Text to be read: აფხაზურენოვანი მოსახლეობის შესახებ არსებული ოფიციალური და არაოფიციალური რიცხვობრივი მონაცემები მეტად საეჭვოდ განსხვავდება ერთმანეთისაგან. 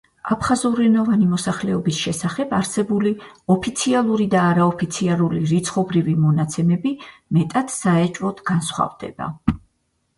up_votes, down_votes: 2, 4